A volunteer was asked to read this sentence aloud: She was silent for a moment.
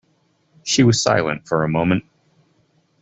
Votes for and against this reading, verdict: 2, 0, accepted